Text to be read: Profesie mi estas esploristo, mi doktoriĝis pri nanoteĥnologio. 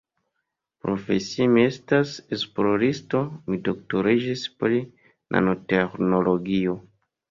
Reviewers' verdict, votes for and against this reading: rejected, 0, 2